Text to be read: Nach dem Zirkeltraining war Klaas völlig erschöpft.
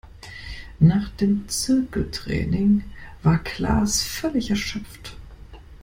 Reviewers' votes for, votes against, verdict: 2, 0, accepted